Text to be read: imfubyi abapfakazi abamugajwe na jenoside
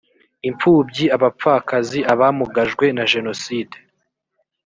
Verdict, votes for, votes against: accepted, 2, 0